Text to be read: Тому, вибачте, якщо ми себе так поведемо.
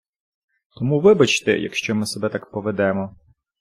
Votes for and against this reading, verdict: 2, 0, accepted